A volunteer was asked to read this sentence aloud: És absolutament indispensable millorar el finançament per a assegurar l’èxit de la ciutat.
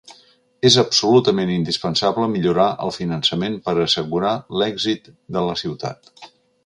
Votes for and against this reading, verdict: 2, 0, accepted